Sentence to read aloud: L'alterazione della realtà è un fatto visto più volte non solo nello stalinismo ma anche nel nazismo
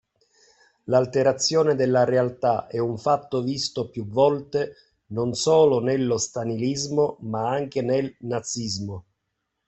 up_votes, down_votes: 2, 0